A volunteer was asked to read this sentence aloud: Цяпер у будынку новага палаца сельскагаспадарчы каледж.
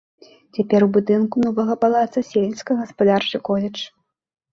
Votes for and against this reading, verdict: 0, 3, rejected